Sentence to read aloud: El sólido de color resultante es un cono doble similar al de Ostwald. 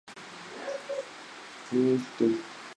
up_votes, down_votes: 2, 2